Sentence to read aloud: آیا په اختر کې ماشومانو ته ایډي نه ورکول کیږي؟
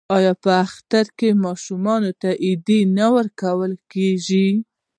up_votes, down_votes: 2, 0